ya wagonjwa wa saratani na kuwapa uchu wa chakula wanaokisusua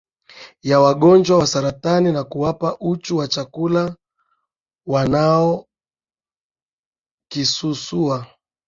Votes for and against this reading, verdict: 0, 2, rejected